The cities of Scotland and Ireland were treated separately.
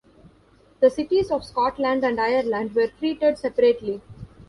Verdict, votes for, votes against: rejected, 1, 2